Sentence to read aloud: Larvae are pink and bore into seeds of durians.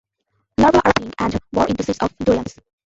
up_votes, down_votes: 0, 2